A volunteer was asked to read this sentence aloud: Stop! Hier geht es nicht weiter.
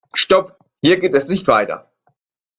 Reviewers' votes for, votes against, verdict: 2, 0, accepted